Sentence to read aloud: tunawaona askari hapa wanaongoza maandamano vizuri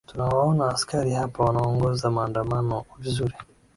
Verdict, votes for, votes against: accepted, 2, 0